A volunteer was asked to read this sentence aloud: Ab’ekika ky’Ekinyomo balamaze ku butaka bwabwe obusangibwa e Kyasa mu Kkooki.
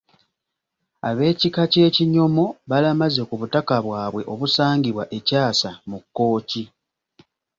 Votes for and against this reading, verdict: 2, 0, accepted